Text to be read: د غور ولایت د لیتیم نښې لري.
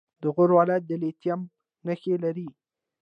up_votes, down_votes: 2, 0